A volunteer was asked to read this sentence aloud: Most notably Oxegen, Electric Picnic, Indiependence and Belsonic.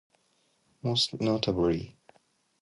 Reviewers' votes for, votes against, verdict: 0, 2, rejected